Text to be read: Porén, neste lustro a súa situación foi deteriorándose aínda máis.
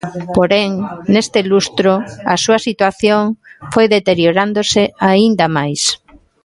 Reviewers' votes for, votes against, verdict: 1, 2, rejected